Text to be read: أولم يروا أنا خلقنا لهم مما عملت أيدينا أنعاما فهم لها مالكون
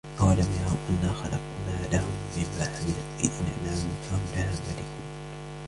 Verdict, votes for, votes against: rejected, 1, 2